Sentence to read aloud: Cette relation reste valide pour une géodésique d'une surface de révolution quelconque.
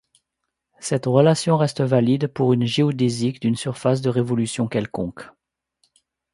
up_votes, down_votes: 2, 0